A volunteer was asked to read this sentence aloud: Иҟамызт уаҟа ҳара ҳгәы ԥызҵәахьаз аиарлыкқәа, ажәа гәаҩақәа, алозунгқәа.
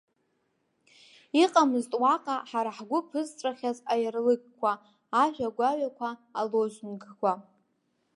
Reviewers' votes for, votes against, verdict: 2, 1, accepted